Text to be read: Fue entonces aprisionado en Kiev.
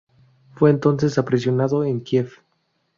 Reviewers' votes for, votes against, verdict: 0, 2, rejected